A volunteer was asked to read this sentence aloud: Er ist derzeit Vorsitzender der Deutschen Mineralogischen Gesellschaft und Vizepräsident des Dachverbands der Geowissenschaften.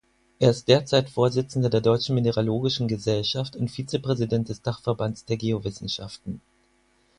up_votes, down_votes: 4, 0